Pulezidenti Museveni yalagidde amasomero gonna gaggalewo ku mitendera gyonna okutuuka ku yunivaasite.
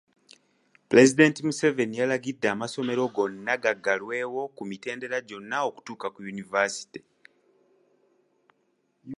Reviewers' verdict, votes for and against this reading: rejected, 1, 2